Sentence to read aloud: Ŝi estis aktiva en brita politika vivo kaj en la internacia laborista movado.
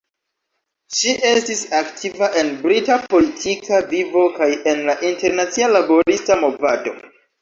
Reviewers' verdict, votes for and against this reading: rejected, 1, 2